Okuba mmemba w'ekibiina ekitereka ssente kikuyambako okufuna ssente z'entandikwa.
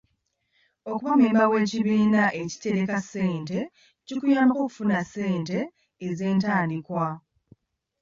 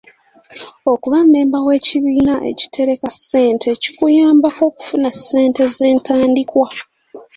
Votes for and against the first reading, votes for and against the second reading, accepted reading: 0, 2, 2, 1, second